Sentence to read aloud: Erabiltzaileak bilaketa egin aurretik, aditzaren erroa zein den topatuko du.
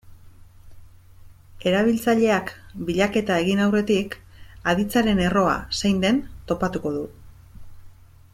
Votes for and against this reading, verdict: 2, 0, accepted